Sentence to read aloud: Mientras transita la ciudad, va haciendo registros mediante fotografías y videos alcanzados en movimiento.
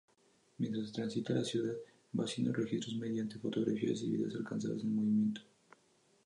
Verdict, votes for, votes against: rejected, 0, 4